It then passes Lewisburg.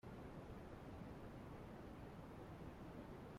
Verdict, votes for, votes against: rejected, 0, 2